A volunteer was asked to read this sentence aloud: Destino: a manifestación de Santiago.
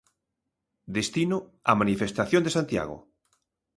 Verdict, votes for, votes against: accepted, 2, 0